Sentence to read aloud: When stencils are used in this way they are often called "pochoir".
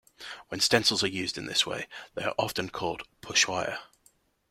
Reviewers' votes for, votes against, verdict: 2, 1, accepted